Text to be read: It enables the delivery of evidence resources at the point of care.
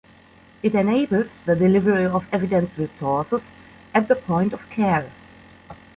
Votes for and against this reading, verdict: 2, 0, accepted